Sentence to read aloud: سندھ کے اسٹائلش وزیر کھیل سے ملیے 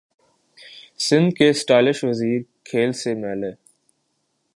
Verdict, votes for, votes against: accepted, 3, 0